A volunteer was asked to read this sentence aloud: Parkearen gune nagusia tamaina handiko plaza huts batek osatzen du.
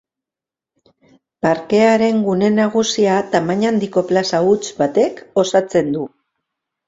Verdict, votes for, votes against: accepted, 2, 0